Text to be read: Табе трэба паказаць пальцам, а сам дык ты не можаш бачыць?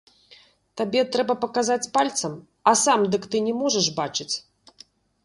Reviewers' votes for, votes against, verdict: 0, 2, rejected